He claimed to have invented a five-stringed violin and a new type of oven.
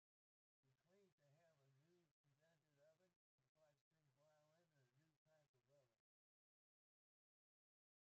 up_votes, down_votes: 0, 2